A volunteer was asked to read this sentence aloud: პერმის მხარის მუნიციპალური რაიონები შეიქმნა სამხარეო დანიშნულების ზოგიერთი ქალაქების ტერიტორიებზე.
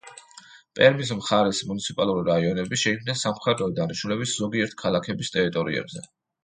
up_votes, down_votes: 2, 0